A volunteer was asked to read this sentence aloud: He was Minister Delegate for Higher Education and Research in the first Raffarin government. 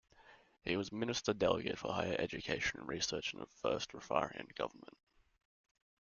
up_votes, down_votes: 2, 0